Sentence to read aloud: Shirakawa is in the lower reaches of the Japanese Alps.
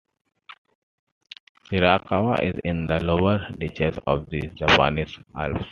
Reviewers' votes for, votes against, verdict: 2, 1, accepted